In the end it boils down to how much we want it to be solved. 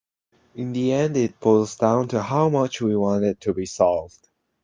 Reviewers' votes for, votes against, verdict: 2, 1, accepted